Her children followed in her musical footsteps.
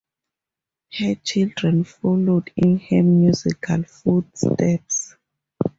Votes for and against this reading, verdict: 2, 0, accepted